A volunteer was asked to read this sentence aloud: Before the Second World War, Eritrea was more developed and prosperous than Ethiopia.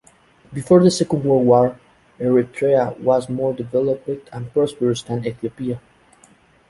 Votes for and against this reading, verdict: 2, 0, accepted